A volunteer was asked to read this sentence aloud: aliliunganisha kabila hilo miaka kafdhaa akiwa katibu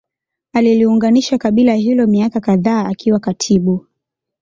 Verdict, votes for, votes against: accepted, 2, 0